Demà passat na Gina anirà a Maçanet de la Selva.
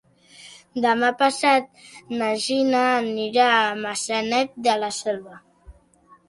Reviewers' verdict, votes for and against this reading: accepted, 3, 0